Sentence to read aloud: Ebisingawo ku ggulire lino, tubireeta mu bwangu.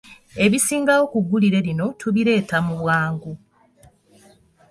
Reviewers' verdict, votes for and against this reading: accepted, 2, 0